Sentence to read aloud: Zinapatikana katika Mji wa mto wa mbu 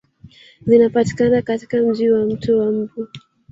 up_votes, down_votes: 1, 2